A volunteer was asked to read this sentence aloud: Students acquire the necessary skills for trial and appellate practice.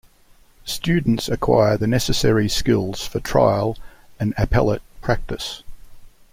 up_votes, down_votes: 2, 0